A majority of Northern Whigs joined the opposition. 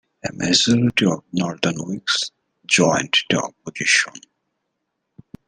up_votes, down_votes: 0, 2